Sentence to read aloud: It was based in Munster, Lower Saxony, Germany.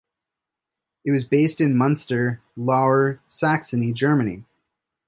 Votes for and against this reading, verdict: 0, 2, rejected